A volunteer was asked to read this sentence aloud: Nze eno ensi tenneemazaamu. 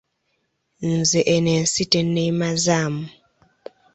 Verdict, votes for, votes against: accepted, 2, 0